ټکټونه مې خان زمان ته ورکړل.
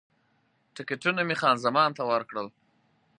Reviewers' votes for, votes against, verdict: 4, 0, accepted